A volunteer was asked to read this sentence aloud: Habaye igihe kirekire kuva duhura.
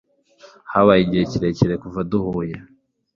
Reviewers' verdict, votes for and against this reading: rejected, 1, 2